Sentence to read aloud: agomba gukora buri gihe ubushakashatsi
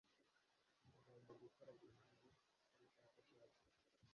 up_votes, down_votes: 1, 2